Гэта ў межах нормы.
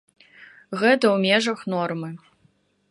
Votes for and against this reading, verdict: 2, 0, accepted